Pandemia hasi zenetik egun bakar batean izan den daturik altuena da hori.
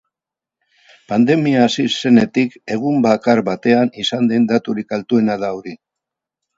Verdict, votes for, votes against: accepted, 4, 0